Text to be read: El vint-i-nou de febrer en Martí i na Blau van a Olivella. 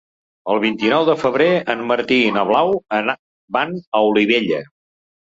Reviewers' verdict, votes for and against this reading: rejected, 0, 2